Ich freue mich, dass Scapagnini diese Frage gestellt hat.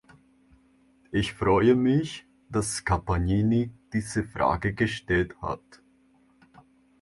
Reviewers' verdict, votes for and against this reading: accepted, 2, 0